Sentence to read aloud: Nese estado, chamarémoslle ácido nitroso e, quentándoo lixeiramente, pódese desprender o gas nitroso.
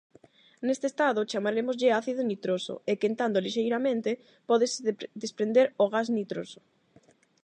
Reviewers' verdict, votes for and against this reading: rejected, 0, 8